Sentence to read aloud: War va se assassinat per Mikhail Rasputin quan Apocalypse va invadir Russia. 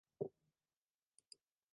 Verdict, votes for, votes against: rejected, 0, 2